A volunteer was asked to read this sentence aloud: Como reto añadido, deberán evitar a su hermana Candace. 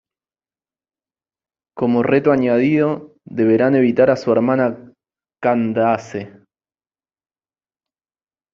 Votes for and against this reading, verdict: 2, 1, accepted